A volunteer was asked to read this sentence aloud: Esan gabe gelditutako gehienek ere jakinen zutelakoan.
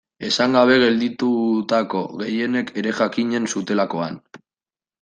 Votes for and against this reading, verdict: 2, 0, accepted